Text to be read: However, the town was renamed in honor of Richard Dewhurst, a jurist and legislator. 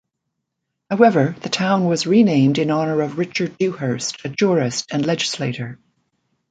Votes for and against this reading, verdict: 2, 0, accepted